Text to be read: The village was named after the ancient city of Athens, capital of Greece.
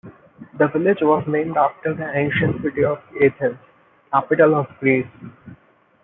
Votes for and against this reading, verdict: 1, 2, rejected